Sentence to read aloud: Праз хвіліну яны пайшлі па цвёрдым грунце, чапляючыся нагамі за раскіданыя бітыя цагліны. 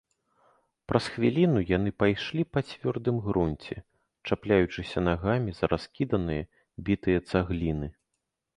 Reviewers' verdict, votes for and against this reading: accepted, 2, 0